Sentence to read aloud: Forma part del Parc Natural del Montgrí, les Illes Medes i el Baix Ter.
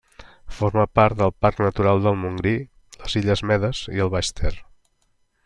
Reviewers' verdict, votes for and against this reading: accepted, 3, 0